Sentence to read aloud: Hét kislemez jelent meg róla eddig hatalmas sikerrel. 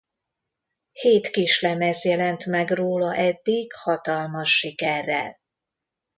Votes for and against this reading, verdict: 2, 0, accepted